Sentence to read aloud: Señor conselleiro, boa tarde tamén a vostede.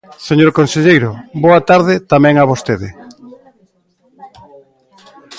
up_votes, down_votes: 2, 0